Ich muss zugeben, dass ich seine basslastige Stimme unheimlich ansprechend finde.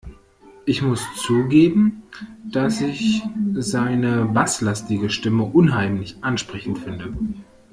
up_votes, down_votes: 1, 2